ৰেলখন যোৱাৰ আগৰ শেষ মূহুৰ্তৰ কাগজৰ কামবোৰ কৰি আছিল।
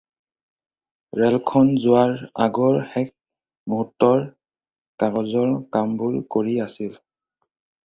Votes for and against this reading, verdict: 4, 0, accepted